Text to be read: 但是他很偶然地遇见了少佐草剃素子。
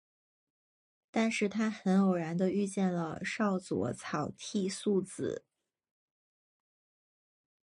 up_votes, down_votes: 4, 0